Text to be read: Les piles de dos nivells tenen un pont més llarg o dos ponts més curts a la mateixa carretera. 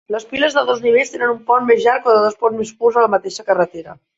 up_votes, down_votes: 0, 2